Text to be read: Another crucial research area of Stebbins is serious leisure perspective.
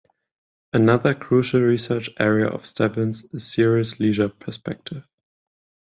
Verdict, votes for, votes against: accepted, 10, 0